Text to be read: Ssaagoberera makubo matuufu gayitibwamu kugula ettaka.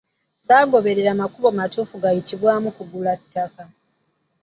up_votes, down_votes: 1, 2